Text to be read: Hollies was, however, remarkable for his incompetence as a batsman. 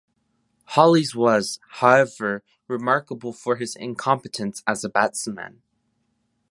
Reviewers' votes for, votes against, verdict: 1, 2, rejected